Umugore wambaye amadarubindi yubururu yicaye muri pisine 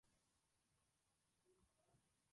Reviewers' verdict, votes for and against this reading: rejected, 0, 2